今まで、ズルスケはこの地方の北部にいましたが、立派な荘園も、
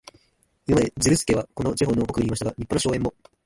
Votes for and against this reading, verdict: 0, 2, rejected